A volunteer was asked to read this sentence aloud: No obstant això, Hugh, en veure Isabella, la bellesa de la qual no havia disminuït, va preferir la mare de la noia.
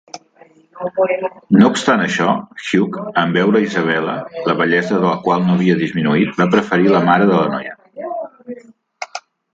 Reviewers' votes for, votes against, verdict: 3, 0, accepted